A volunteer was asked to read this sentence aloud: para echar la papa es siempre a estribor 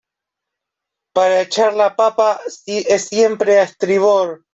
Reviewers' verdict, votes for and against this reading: rejected, 0, 2